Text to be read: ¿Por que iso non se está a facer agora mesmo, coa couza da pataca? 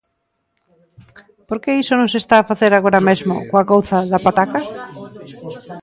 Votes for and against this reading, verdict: 1, 2, rejected